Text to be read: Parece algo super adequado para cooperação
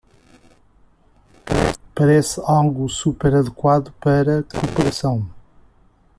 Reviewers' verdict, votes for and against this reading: rejected, 0, 2